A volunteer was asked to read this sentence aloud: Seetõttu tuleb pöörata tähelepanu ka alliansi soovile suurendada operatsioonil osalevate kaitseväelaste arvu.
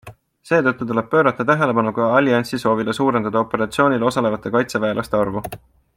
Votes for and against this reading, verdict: 2, 0, accepted